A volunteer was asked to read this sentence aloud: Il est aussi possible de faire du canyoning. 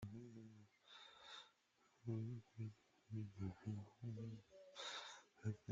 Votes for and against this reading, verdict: 0, 2, rejected